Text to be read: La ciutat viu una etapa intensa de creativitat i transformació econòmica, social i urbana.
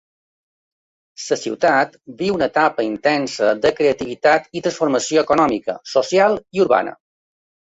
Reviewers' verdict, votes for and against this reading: accepted, 2, 0